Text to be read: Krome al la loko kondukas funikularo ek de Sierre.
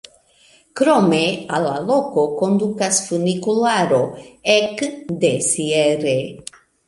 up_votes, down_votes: 2, 1